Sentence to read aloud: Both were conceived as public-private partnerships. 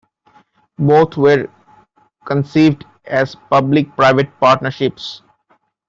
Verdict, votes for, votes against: accepted, 2, 0